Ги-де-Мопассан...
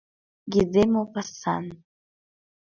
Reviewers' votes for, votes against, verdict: 2, 0, accepted